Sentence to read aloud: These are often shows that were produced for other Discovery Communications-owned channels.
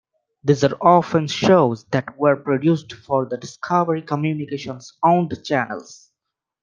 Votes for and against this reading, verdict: 2, 0, accepted